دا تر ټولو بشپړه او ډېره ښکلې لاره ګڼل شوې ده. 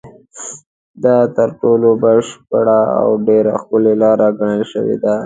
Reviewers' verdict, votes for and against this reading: accepted, 3, 0